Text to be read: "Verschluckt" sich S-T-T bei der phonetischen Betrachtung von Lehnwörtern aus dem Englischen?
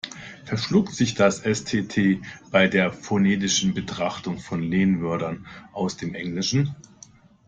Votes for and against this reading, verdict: 0, 2, rejected